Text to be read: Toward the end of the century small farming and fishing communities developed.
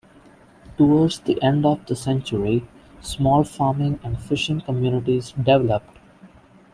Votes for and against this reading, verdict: 0, 2, rejected